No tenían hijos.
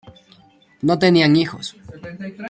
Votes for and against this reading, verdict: 2, 0, accepted